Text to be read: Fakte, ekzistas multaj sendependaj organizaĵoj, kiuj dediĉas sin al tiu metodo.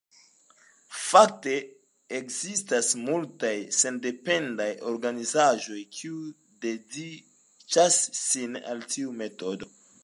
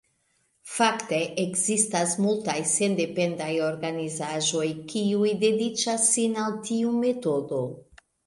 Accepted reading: second